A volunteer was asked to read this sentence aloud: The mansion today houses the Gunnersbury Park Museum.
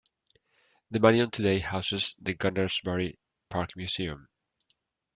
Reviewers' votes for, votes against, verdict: 0, 2, rejected